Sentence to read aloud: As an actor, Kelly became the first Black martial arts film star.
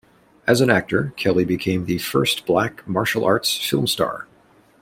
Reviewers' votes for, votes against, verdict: 2, 0, accepted